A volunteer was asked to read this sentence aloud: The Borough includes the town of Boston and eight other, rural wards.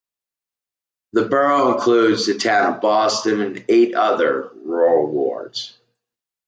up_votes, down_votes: 2, 0